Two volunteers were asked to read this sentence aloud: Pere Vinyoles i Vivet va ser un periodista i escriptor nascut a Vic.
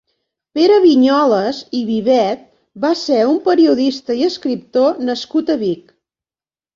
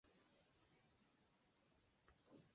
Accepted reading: first